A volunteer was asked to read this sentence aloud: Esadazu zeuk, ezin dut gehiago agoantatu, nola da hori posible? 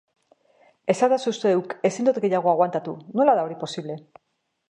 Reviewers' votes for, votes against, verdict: 2, 0, accepted